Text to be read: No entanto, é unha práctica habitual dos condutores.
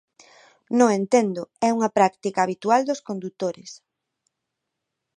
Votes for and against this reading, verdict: 0, 2, rejected